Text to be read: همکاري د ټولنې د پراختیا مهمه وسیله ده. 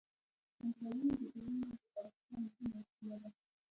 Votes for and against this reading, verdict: 1, 2, rejected